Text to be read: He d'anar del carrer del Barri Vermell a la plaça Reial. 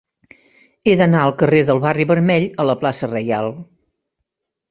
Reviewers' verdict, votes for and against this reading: rejected, 0, 2